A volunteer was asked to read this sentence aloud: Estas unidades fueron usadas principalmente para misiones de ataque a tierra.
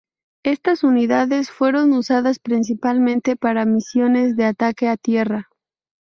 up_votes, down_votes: 2, 0